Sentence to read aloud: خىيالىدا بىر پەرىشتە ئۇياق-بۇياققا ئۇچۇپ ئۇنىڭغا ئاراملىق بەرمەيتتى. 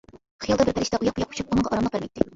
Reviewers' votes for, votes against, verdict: 0, 2, rejected